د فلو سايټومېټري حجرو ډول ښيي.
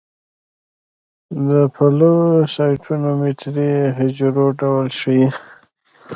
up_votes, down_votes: 1, 2